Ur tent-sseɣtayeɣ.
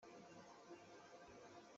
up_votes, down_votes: 0, 2